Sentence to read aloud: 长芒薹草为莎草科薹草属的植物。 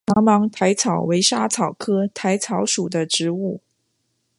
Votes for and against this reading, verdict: 2, 0, accepted